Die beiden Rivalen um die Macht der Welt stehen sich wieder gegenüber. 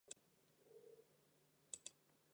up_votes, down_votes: 0, 2